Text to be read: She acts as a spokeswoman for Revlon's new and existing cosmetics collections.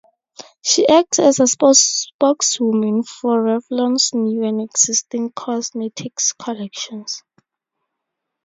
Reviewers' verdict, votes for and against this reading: rejected, 0, 2